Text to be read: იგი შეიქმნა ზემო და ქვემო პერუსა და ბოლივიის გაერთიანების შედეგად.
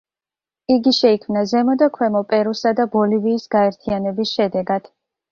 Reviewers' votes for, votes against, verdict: 2, 0, accepted